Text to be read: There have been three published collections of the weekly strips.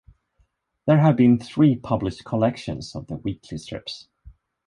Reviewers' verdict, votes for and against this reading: accepted, 2, 0